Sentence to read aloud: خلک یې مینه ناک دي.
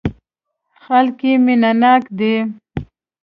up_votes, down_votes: 3, 1